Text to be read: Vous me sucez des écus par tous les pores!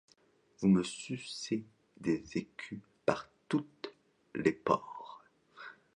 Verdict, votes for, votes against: rejected, 0, 2